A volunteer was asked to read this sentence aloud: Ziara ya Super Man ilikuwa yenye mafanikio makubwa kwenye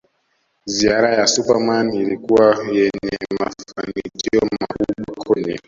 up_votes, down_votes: 0, 2